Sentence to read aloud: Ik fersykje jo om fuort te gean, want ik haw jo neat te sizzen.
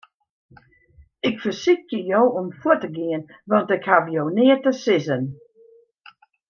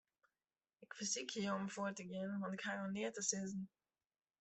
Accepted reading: first